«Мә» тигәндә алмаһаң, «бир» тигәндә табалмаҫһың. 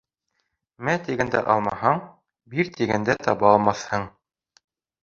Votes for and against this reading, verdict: 2, 1, accepted